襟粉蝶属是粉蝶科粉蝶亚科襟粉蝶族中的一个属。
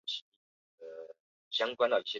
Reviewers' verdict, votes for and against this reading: rejected, 0, 4